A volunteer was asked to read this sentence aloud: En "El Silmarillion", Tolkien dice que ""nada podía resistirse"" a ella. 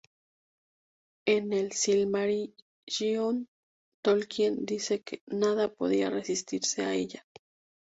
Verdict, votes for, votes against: accepted, 2, 0